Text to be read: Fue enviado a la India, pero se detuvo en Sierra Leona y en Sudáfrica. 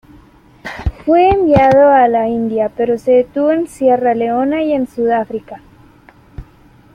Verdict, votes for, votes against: accepted, 2, 0